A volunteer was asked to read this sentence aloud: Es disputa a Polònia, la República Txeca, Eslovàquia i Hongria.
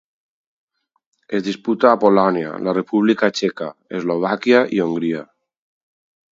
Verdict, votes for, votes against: accepted, 4, 0